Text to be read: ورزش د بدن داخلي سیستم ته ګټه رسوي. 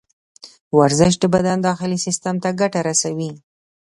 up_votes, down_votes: 2, 0